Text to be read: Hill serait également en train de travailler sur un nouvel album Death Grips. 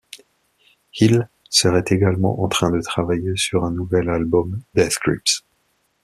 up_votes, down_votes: 2, 0